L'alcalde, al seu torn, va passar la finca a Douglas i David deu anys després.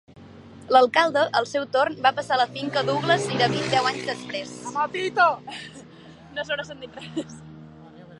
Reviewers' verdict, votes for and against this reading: rejected, 1, 2